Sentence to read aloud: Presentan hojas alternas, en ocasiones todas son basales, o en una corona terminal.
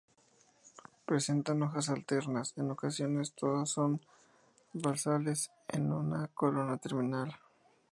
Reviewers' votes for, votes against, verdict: 2, 2, rejected